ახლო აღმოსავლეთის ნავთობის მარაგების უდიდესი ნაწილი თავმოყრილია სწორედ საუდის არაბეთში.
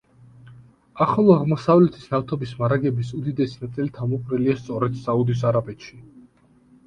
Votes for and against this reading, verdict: 3, 0, accepted